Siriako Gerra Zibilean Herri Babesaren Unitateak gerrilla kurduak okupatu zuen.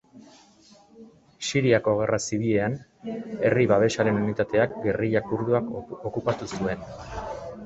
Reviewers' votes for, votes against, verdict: 0, 2, rejected